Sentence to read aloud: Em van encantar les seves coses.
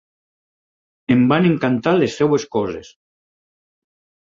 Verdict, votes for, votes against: rejected, 2, 4